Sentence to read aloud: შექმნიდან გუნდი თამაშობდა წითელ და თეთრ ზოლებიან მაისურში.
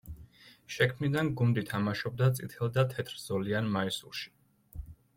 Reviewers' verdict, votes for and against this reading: rejected, 0, 2